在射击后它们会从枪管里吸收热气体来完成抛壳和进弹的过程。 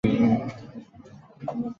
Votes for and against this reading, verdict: 2, 0, accepted